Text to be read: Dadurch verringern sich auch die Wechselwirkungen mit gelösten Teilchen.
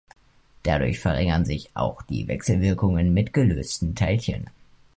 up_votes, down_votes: 2, 1